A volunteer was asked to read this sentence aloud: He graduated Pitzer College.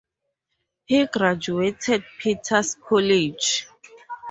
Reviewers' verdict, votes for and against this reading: rejected, 2, 4